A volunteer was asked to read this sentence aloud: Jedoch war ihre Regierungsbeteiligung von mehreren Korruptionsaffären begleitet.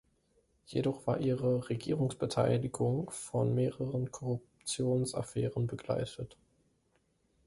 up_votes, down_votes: 2, 0